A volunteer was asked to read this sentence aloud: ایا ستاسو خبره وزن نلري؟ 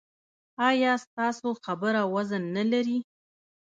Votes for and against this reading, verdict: 1, 2, rejected